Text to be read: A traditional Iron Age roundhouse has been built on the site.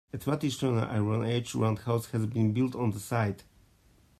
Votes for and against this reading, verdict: 2, 0, accepted